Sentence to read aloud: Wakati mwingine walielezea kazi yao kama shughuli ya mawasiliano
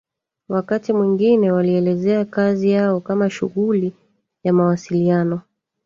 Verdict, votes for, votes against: rejected, 1, 2